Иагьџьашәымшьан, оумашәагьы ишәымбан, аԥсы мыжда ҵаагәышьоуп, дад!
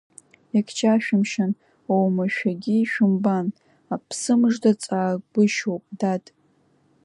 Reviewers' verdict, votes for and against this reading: rejected, 1, 2